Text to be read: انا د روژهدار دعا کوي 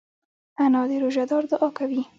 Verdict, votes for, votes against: rejected, 1, 2